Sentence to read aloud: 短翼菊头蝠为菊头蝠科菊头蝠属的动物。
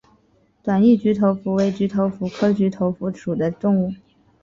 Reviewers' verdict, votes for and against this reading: accepted, 3, 1